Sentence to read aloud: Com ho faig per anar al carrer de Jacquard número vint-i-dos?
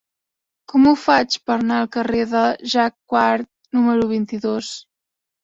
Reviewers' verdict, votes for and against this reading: rejected, 1, 2